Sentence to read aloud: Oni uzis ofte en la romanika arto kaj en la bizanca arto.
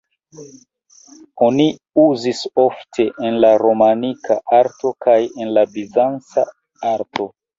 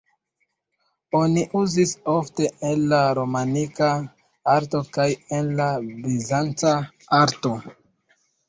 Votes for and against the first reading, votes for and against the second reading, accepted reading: 2, 1, 1, 2, first